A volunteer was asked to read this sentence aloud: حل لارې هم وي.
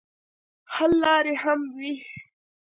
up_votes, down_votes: 1, 2